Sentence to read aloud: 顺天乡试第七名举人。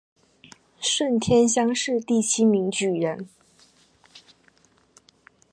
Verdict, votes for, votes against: accepted, 2, 0